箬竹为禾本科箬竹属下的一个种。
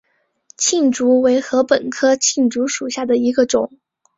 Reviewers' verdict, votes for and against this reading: rejected, 0, 3